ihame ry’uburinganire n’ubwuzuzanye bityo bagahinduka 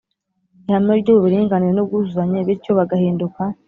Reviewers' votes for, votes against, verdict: 2, 0, accepted